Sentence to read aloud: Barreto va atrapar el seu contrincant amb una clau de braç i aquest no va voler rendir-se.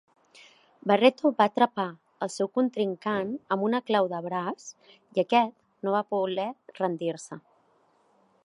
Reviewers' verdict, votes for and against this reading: accepted, 2, 0